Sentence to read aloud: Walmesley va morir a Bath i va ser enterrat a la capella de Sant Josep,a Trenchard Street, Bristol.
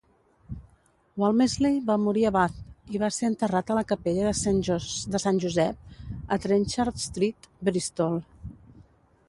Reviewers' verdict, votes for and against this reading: rejected, 0, 2